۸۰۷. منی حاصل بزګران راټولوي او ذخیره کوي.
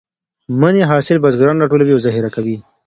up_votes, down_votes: 0, 2